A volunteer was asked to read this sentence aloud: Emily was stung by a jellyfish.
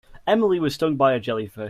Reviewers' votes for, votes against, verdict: 0, 2, rejected